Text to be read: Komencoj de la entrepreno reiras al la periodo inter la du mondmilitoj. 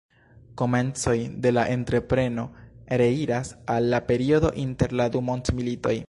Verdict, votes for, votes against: rejected, 1, 2